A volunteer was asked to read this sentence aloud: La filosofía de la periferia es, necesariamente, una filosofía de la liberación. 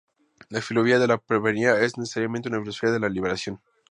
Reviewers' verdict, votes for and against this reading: rejected, 0, 2